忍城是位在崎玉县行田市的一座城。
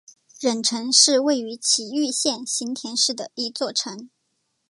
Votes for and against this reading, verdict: 1, 2, rejected